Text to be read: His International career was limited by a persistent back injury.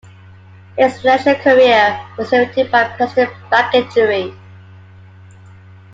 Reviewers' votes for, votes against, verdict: 0, 2, rejected